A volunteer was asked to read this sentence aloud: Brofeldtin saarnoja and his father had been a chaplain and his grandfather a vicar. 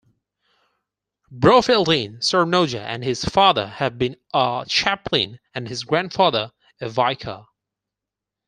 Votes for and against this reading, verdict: 4, 0, accepted